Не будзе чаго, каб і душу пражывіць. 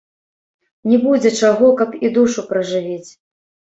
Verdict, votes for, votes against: rejected, 0, 2